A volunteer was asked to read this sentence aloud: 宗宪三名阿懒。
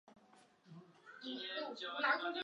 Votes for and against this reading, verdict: 0, 2, rejected